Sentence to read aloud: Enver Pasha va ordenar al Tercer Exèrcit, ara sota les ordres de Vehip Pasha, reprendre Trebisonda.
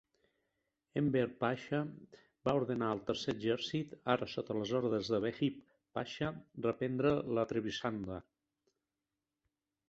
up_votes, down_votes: 0, 2